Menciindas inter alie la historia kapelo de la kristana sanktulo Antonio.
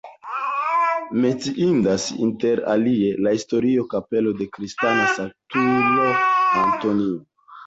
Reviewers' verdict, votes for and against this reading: rejected, 1, 3